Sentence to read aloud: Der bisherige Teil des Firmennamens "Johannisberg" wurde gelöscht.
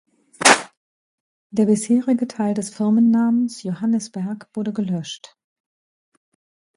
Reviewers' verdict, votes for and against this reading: rejected, 0, 2